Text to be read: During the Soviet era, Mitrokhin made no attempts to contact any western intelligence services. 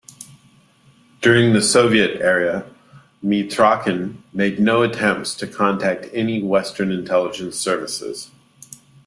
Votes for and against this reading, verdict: 2, 1, accepted